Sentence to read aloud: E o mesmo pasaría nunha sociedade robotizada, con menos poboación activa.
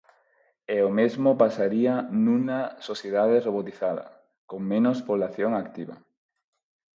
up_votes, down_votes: 0, 4